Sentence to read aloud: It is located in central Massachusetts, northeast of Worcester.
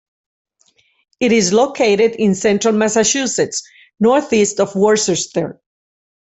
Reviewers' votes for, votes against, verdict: 0, 2, rejected